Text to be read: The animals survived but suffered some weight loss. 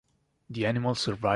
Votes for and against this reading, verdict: 0, 2, rejected